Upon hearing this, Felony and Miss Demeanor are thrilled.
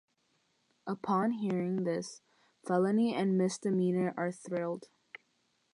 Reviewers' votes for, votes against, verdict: 6, 0, accepted